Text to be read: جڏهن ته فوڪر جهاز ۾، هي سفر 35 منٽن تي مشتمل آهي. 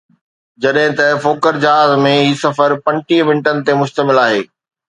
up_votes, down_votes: 0, 2